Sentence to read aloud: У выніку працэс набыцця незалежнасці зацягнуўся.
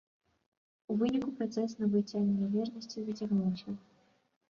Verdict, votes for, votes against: rejected, 1, 2